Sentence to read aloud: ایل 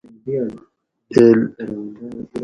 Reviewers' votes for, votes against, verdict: 2, 2, rejected